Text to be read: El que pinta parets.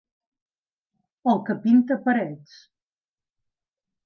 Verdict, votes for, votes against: accepted, 2, 0